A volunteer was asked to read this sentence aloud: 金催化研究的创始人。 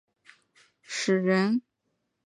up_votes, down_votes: 0, 2